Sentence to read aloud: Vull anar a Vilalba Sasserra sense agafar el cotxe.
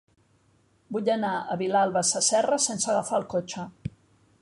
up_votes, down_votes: 0, 2